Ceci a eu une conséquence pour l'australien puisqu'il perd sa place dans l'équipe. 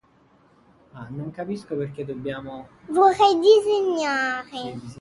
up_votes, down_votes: 0, 2